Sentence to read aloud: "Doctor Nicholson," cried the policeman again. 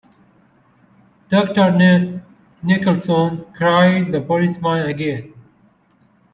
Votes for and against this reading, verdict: 0, 2, rejected